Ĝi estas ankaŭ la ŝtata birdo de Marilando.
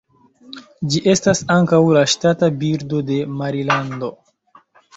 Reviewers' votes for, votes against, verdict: 0, 2, rejected